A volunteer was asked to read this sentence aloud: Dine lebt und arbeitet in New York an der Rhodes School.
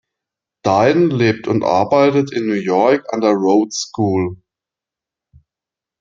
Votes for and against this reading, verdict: 2, 0, accepted